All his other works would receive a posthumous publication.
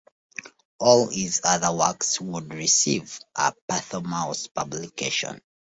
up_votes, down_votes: 1, 2